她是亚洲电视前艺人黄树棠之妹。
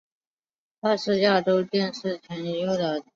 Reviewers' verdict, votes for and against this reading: rejected, 0, 2